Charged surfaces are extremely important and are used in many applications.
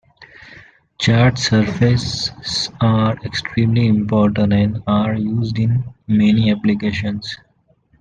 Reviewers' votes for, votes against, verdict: 1, 2, rejected